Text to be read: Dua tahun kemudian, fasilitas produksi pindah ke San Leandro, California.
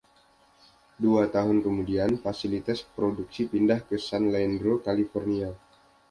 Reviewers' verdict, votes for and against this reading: accepted, 2, 0